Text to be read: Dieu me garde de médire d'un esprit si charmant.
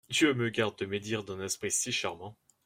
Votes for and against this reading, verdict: 1, 2, rejected